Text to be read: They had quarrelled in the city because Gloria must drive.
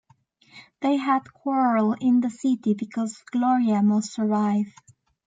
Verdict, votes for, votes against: rejected, 0, 2